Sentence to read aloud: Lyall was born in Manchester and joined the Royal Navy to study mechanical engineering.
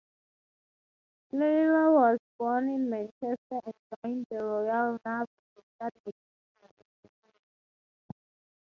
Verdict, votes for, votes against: rejected, 0, 6